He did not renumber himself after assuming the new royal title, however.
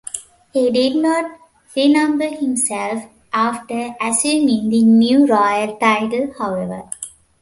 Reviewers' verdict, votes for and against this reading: accepted, 2, 0